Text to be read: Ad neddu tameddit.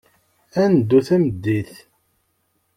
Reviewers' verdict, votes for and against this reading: accepted, 2, 0